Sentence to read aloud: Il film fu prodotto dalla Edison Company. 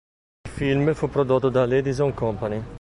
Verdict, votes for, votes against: rejected, 1, 2